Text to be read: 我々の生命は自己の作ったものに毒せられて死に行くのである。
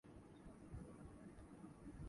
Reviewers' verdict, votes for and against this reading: rejected, 0, 2